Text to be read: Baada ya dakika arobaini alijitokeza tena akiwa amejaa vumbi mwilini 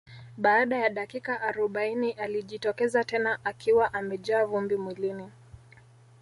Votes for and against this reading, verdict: 1, 2, rejected